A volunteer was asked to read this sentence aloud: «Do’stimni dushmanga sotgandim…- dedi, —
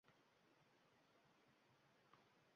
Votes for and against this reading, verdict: 0, 2, rejected